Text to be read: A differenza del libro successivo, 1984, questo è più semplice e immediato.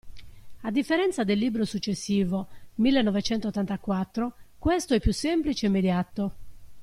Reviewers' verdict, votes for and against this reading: rejected, 0, 2